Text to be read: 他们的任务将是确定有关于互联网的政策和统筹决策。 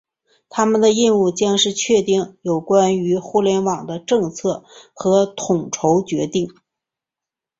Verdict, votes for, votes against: accepted, 5, 2